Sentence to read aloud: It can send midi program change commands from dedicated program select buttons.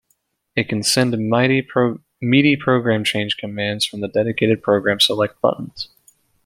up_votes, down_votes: 0, 2